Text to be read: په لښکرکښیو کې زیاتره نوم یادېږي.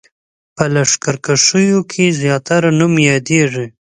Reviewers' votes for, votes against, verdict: 2, 0, accepted